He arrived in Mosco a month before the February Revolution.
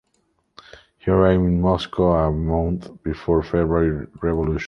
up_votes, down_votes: 0, 3